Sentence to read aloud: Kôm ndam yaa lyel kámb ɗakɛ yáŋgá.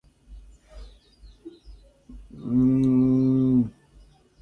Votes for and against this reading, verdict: 0, 2, rejected